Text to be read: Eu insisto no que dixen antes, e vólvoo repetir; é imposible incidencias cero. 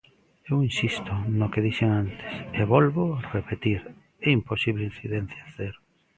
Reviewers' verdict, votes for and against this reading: rejected, 1, 2